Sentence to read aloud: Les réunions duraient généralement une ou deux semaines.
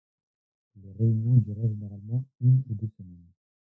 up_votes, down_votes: 1, 2